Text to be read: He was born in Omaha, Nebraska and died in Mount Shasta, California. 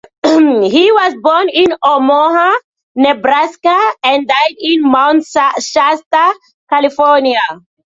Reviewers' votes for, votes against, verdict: 2, 1, accepted